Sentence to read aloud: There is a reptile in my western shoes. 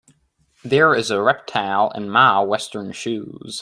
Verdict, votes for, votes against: rejected, 1, 2